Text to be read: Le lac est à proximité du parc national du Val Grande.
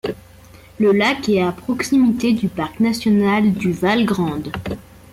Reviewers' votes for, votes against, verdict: 2, 0, accepted